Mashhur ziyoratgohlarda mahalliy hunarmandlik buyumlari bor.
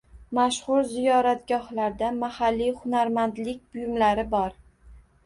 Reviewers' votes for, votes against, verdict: 1, 2, rejected